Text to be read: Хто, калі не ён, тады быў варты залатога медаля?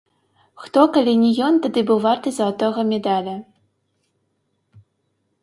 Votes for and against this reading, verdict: 1, 3, rejected